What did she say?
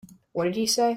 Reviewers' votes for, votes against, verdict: 1, 2, rejected